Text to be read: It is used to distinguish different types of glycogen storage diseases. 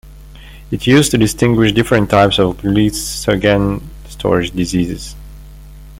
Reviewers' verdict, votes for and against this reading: rejected, 0, 2